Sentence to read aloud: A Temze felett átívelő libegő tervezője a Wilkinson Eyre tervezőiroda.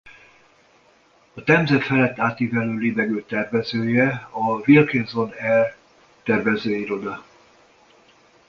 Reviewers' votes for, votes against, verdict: 0, 2, rejected